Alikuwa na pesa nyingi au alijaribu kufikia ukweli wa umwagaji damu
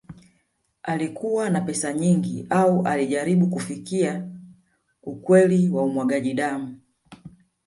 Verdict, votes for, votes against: rejected, 1, 2